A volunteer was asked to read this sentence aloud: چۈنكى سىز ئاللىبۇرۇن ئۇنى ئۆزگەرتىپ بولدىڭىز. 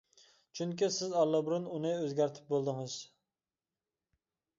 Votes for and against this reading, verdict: 2, 0, accepted